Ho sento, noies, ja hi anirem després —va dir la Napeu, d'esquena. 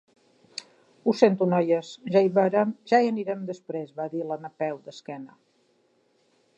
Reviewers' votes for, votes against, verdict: 0, 2, rejected